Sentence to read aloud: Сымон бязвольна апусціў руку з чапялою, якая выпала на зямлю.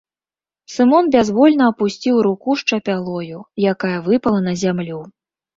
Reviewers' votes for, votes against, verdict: 2, 0, accepted